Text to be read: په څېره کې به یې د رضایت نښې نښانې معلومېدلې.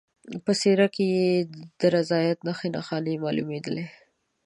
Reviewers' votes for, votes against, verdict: 0, 2, rejected